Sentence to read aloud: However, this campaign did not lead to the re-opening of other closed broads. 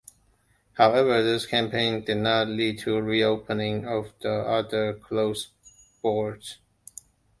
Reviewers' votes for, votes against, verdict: 1, 2, rejected